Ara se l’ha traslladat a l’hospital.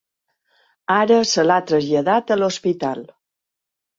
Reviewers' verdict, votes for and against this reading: accepted, 3, 0